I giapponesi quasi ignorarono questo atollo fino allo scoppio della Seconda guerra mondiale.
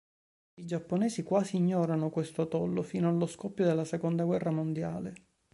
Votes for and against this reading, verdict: 2, 3, rejected